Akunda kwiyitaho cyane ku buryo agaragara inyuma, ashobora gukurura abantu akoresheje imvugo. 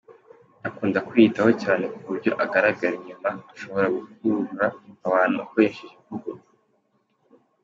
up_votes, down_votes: 2, 0